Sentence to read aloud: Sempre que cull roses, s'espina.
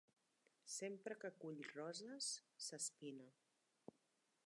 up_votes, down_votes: 3, 0